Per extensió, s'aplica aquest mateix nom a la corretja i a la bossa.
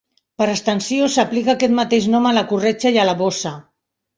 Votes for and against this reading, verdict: 3, 1, accepted